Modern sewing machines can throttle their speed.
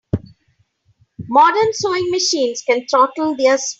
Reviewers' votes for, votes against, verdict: 2, 5, rejected